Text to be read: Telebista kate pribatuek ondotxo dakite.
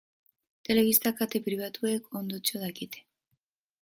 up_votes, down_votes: 2, 0